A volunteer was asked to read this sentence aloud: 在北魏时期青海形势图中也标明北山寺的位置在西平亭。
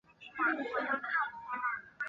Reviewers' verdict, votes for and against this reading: rejected, 0, 2